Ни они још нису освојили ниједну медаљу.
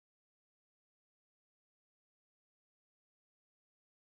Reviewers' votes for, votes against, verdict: 0, 2, rejected